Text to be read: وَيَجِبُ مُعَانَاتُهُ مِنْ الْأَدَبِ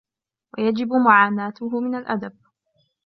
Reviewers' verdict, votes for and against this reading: accepted, 2, 0